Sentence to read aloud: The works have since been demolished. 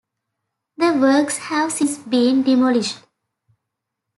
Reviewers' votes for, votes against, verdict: 2, 0, accepted